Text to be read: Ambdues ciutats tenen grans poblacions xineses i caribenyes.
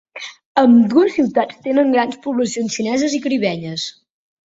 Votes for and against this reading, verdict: 2, 0, accepted